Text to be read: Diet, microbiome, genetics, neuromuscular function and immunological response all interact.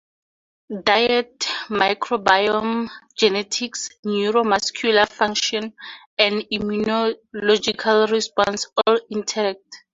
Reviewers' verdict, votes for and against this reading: accepted, 6, 2